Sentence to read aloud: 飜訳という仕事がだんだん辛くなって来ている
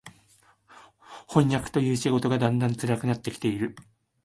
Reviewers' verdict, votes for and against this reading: accepted, 2, 0